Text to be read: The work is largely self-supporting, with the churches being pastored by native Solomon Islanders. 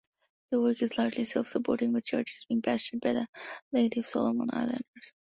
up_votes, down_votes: 2, 3